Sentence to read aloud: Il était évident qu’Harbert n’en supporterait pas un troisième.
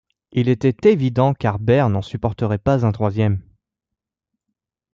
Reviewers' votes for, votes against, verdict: 2, 0, accepted